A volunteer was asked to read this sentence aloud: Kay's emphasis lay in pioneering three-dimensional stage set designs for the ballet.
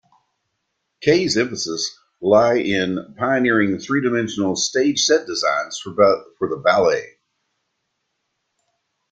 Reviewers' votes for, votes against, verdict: 0, 2, rejected